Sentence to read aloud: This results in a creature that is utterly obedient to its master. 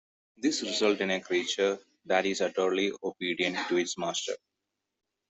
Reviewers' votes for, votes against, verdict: 2, 0, accepted